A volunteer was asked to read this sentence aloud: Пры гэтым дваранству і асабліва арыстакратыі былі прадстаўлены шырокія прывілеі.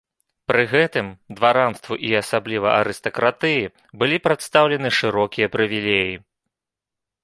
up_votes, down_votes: 1, 2